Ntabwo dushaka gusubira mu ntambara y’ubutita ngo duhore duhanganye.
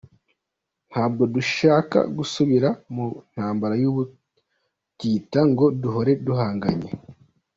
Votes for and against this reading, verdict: 2, 1, accepted